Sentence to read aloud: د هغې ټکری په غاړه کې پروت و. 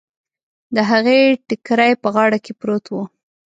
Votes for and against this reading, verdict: 2, 0, accepted